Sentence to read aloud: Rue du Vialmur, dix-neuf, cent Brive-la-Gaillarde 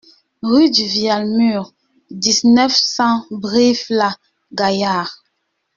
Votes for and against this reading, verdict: 2, 1, accepted